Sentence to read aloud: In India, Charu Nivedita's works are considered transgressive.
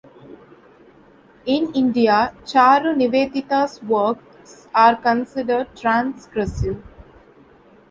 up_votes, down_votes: 1, 2